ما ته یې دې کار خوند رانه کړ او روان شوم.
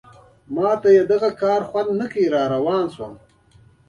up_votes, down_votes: 2, 0